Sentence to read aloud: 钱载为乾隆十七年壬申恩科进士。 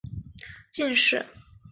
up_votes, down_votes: 1, 2